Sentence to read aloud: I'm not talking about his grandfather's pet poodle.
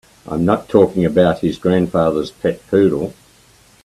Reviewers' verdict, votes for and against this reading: accepted, 2, 0